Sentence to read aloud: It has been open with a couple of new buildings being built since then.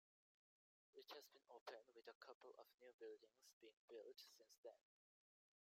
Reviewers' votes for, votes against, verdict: 0, 2, rejected